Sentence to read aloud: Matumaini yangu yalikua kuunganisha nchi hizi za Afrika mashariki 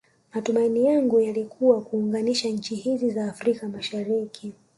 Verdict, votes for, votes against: rejected, 0, 2